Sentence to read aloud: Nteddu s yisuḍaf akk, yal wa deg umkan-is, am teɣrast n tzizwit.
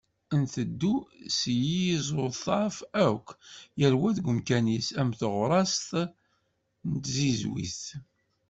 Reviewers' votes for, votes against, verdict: 1, 2, rejected